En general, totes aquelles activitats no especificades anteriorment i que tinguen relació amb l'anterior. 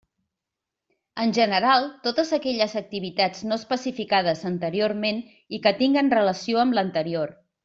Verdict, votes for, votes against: accepted, 3, 0